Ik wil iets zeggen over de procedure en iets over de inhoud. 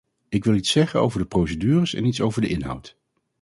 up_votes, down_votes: 0, 4